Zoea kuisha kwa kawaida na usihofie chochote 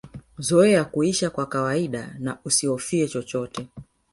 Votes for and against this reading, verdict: 0, 2, rejected